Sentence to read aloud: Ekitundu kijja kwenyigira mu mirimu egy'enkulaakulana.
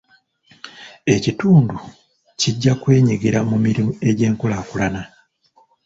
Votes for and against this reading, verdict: 2, 0, accepted